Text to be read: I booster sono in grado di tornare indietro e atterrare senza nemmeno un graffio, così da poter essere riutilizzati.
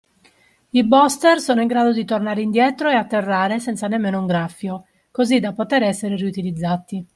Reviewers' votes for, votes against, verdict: 2, 0, accepted